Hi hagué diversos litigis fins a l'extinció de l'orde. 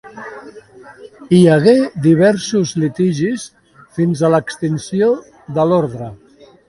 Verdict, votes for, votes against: accepted, 2, 0